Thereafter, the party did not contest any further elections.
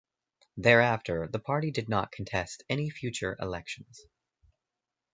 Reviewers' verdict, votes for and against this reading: rejected, 0, 2